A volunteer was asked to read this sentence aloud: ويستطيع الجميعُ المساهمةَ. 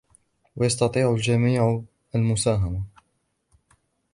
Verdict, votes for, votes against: rejected, 1, 2